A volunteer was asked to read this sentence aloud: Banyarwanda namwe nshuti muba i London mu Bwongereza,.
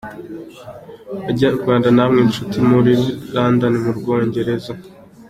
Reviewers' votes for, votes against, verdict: 2, 1, accepted